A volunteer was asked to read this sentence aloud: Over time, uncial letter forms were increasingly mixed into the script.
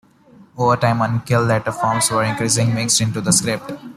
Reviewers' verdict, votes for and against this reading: rejected, 1, 2